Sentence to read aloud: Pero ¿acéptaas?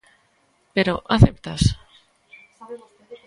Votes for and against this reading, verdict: 0, 2, rejected